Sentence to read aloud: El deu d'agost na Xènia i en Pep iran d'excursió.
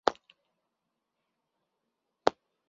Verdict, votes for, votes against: rejected, 0, 2